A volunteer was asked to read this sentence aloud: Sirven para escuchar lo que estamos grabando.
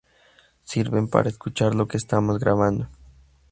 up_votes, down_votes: 2, 0